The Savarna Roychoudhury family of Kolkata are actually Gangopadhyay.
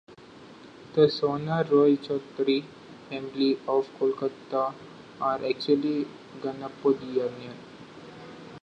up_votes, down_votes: 1, 2